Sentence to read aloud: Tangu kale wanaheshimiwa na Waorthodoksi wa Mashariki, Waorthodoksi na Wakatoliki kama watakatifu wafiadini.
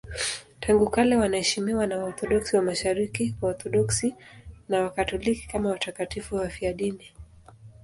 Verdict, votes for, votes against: accepted, 2, 1